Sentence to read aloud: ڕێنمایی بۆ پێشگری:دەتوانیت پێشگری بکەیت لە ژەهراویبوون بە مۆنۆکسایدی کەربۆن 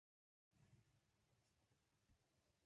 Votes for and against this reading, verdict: 0, 3, rejected